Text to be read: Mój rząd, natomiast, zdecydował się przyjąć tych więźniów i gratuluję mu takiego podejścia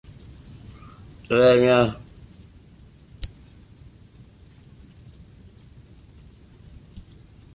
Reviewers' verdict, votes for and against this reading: rejected, 0, 2